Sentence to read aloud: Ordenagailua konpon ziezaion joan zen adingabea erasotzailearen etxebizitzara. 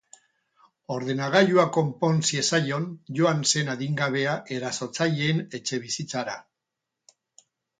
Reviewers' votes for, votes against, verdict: 0, 2, rejected